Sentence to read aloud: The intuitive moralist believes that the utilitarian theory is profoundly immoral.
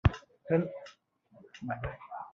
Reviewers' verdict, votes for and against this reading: rejected, 0, 2